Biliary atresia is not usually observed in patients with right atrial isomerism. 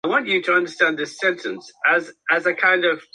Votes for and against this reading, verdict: 0, 2, rejected